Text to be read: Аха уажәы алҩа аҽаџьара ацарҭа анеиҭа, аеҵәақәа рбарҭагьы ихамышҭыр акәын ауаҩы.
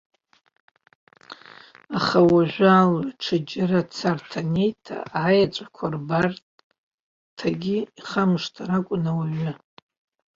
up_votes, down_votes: 2, 1